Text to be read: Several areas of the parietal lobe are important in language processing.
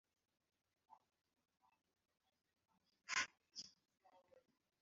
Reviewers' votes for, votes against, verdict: 0, 2, rejected